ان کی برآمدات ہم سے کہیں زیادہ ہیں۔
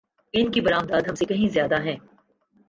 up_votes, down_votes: 3, 2